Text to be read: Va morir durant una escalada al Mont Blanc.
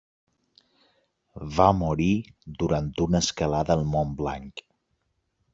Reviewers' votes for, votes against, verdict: 2, 0, accepted